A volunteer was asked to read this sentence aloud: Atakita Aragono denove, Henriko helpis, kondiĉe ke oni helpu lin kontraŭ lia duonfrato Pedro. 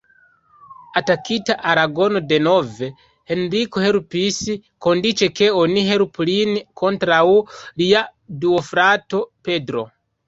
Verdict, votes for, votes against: rejected, 1, 2